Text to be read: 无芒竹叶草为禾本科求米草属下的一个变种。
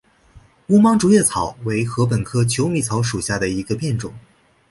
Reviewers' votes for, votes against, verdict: 2, 0, accepted